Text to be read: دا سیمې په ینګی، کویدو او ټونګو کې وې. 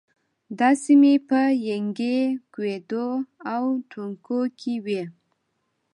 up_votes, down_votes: 2, 0